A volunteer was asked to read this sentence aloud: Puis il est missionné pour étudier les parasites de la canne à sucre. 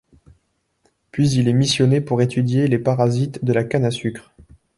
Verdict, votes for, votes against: accepted, 2, 0